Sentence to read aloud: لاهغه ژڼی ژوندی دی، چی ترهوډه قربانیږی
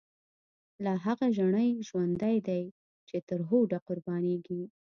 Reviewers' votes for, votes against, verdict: 2, 0, accepted